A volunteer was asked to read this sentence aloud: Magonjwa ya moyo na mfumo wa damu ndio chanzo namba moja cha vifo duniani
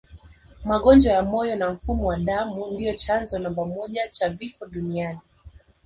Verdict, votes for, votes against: accepted, 2, 0